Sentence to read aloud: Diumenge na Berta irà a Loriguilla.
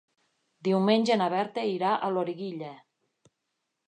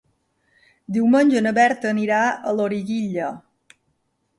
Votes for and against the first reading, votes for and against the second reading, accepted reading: 3, 0, 0, 2, first